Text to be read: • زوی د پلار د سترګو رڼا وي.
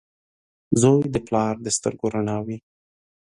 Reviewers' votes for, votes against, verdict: 2, 0, accepted